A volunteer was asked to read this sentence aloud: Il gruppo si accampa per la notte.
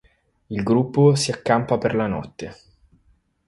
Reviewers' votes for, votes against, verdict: 4, 0, accepted